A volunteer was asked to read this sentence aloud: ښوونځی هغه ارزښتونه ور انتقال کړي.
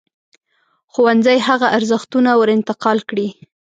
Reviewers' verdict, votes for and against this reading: accepted, 2, 0